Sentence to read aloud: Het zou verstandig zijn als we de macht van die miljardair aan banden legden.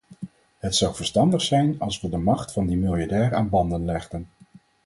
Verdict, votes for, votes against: accepted, 4, 0